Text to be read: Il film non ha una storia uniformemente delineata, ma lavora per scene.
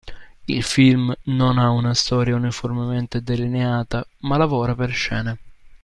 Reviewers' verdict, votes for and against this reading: accepted, 2, 0